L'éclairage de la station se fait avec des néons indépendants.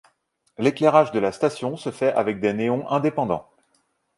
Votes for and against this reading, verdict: 2, 0, accepted